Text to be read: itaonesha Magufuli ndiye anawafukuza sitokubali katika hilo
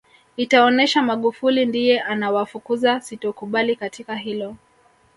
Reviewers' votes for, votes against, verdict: 1, 2, rejected